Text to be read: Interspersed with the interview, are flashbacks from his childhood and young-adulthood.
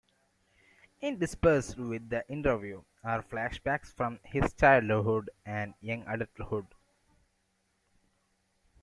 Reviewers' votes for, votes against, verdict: 2, 1, accepted